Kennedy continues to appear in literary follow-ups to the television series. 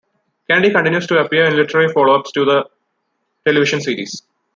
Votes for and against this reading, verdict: 1, 2, rejected